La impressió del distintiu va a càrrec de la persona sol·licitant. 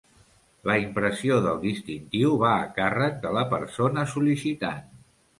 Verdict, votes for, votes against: accepted, 2, 0